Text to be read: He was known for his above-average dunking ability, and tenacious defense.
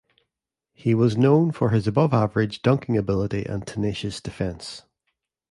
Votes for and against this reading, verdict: 2, 0, accepted